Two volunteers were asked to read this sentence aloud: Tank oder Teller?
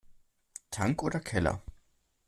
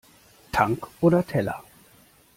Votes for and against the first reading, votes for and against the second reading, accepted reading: 0, 2, 2, 0, second